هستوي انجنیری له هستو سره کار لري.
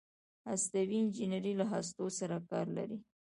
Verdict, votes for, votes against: accepted, 2, 0